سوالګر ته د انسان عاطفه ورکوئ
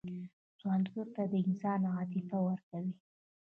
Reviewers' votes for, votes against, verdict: 2, 1, accepted